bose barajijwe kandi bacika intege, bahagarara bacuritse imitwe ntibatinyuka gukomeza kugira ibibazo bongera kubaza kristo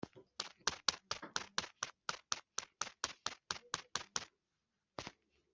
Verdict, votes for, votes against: rejected, 0, 3